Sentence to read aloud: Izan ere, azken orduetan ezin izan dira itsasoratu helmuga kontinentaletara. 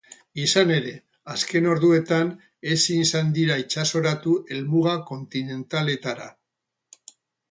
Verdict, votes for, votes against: accepted, 4, 0